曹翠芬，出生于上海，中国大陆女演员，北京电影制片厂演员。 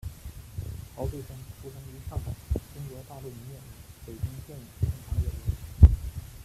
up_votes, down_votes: 1, 2